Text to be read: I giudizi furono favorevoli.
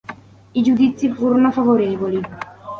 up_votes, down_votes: 2, 0